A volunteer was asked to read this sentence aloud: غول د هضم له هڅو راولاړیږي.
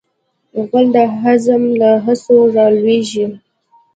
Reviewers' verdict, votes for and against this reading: accepted, 3, 0